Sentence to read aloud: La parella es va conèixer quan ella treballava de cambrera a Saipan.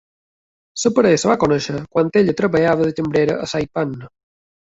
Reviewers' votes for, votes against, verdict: 1, 2, rejected